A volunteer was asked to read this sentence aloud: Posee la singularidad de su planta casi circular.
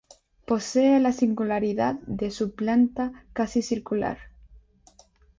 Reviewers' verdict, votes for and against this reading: accepted, 2, 0